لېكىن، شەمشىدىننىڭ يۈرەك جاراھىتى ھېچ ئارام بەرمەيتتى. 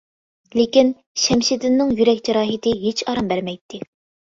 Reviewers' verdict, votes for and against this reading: accepted, 3, 0